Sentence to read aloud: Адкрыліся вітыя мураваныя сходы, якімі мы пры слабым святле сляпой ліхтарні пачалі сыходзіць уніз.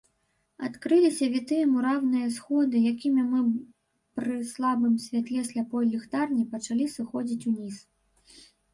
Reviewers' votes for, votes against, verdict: 0, 2, rejected